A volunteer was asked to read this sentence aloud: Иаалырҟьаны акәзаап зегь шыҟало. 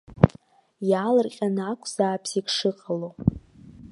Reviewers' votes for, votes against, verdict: 2, 0, accepted